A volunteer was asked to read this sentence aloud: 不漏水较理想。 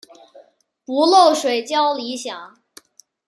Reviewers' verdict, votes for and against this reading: accepted, 2, 0